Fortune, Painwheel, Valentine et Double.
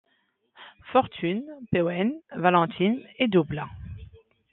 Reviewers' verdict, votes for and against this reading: accepted, 2, 0